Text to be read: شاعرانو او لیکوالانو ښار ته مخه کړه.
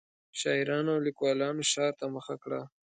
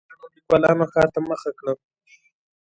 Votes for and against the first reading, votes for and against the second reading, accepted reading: 2, 0, 0, 2, first